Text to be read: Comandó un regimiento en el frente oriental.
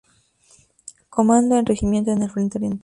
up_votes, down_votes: 0, 4